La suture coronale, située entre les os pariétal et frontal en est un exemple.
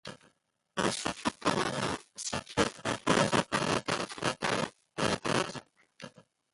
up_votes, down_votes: 0, 2